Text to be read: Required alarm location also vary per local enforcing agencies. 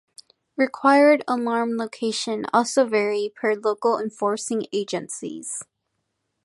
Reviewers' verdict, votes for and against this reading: rejected, 1, 2